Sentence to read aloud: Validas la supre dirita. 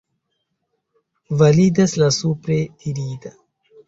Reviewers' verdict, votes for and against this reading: accepted, 3, 0